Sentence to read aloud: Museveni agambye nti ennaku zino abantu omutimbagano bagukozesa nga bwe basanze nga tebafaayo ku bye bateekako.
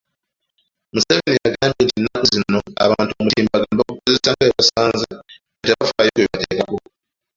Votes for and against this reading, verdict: 0, 2, rejected